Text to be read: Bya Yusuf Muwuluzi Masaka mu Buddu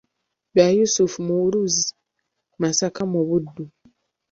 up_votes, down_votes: 1, 2